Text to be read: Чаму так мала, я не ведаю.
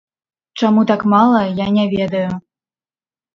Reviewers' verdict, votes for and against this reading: accepted, 3, 0